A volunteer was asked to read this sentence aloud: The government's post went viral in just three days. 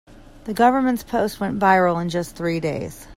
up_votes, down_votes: 2, 0